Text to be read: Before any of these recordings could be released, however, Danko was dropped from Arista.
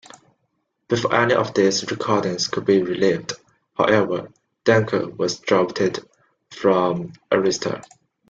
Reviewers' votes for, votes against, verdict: 1, 2, rejected